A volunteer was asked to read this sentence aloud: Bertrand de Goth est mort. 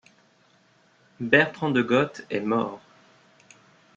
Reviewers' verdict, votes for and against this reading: accepted, 2, 0